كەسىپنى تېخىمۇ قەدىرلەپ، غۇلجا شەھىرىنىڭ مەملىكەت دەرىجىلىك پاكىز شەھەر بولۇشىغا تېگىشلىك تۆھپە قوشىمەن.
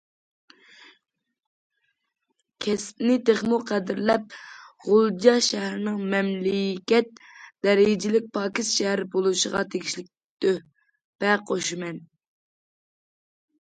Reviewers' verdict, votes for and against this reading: accepted, 2, 0